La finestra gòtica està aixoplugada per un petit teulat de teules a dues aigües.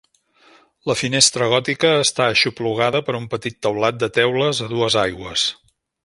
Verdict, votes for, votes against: accepted, 2, 0